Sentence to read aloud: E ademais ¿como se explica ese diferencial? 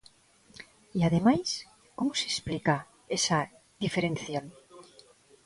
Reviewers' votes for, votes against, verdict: 0, 2, rejected